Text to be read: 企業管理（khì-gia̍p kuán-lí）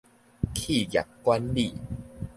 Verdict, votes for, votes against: accepted, 2, 0